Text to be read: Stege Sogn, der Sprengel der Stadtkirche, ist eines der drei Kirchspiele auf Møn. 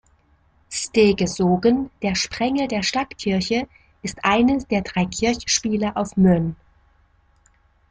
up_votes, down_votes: 0, 2